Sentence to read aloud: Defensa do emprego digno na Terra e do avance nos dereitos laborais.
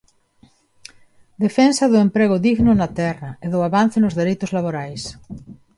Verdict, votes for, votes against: accepted, 2, 0